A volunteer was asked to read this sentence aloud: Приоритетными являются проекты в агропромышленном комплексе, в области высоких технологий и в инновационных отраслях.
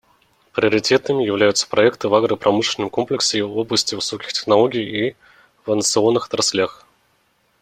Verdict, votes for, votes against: rejected, 0, 2